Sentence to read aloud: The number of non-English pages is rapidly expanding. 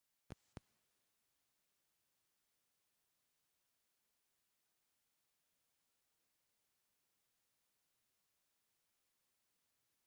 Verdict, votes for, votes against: rejected, 0, 2